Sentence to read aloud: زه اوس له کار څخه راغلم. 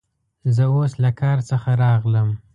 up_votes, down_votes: 2, 0